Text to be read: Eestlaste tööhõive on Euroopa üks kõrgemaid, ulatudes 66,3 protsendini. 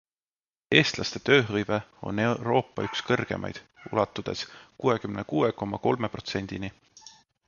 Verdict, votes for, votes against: rejected, 0, 2